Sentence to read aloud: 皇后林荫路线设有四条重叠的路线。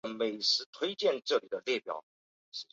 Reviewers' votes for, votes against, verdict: 1, 4, rejected